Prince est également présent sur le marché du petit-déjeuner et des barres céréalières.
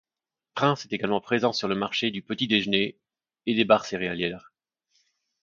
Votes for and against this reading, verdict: 1, 2, rejected